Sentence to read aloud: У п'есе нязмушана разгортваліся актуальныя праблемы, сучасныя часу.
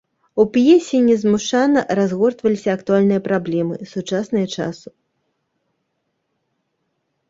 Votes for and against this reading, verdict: 0, 2, rejected